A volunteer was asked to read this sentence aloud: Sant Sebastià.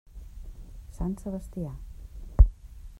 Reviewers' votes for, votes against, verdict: 0, 2, rejected